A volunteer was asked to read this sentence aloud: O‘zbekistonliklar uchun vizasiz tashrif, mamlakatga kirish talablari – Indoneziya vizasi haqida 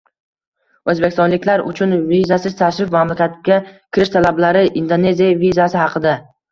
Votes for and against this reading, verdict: 1, 2, rejected